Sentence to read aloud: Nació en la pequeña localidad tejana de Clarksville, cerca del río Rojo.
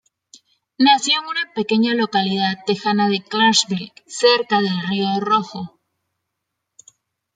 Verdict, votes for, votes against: rejected, 1, 2